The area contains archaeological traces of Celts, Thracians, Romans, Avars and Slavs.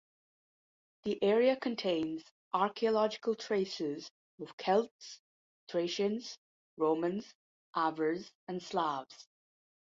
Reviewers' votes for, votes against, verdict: 2, 0, accepted